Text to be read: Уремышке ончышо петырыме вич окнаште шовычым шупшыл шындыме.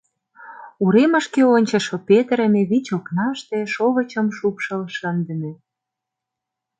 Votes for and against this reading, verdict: 2, 0, accepted